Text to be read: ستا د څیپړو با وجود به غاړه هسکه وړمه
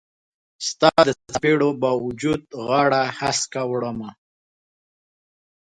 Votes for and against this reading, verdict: 2, 3, rejected